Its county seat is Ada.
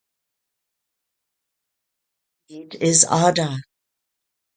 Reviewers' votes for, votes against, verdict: 0, 4, rejected